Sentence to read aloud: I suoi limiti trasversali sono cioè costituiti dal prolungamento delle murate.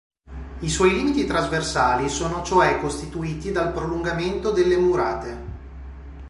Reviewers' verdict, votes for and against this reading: accepted, 2, 0